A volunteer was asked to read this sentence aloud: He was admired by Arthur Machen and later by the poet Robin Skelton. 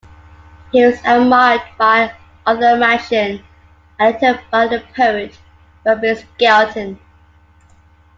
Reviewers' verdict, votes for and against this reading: rejected, 0, 2